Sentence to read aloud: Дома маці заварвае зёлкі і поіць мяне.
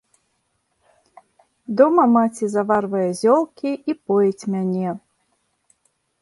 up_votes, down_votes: 2, 0